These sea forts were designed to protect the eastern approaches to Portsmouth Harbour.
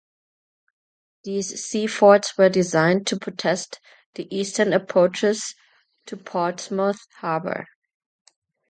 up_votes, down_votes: 0, 2